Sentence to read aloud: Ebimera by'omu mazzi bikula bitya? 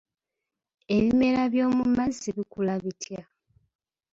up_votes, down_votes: 2, 0